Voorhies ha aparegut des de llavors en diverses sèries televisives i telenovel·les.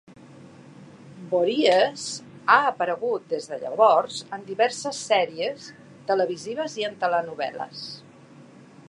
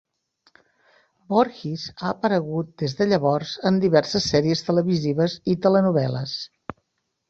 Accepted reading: second